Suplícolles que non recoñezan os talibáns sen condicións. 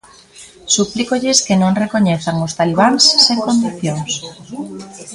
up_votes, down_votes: 2, 1